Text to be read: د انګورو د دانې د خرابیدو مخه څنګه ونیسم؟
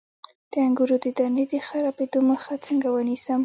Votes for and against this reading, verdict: 2, 0, accepted